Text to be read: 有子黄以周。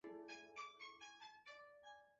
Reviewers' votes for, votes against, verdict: 0, 3, rejected